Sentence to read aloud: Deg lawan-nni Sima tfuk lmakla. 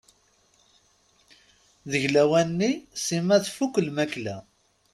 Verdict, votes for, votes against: accepted, 2, 0